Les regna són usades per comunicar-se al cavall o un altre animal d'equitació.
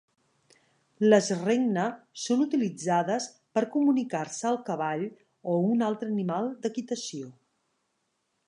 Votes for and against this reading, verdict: 1, 2, rejected